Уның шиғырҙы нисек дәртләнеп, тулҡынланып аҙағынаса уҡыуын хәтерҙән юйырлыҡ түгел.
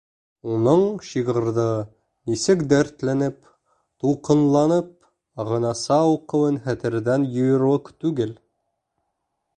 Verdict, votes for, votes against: rejected, 0, 2